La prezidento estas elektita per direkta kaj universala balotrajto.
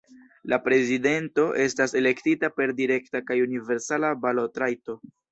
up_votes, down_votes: 2, 0